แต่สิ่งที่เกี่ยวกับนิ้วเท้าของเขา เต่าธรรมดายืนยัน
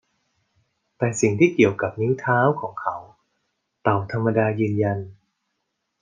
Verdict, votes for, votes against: accepted, 2, 0